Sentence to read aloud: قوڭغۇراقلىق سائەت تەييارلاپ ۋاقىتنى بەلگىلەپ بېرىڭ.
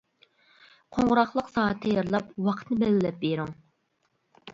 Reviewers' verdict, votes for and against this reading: rejected, 1, 2